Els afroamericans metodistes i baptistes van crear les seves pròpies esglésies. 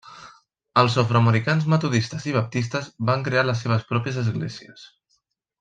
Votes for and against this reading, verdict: 2, 0, accepted